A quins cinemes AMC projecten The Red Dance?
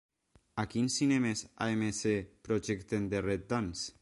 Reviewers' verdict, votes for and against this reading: rejected, 1, 2